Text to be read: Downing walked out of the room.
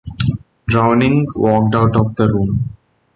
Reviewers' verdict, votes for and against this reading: accepted, 2, 0